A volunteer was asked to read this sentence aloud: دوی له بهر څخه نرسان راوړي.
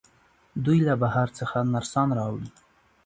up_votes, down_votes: 2, 0